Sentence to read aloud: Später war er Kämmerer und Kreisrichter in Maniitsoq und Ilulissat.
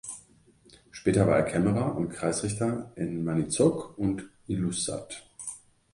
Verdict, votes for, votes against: rejected, 0, 2